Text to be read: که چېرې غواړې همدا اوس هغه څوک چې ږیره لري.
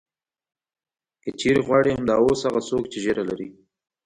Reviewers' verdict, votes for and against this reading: accepted, 2, 1